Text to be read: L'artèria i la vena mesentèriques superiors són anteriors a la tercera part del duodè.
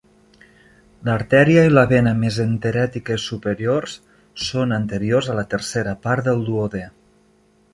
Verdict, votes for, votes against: rejected, 0, 2